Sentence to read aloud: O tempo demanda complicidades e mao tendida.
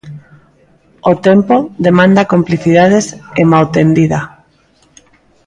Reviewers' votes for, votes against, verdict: 2, 0, accepted